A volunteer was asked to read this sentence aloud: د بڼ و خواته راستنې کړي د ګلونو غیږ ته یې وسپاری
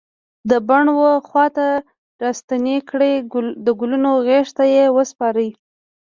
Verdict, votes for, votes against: rejected, 1, 2